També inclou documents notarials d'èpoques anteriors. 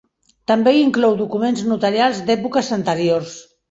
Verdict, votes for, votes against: accepted, 3, 0